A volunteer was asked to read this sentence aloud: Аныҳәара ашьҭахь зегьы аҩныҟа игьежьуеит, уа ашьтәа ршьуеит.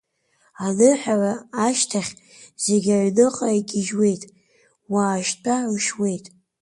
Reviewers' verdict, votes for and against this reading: accepted, 2, 1